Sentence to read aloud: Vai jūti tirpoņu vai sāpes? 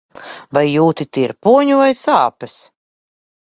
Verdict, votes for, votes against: accepted, 2, 0